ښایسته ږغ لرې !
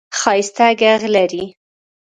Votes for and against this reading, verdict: 1, 2, rejected